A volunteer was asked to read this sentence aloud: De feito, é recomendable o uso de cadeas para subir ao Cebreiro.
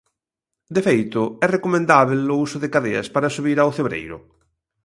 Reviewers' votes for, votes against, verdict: 1, 2, rejected